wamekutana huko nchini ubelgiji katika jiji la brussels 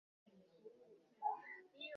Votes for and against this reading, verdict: 0, 2, rejected